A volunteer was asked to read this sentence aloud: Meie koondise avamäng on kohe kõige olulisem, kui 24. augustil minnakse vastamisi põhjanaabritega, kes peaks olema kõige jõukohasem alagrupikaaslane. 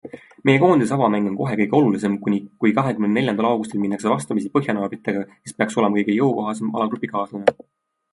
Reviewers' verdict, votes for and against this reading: rejected, 0, 2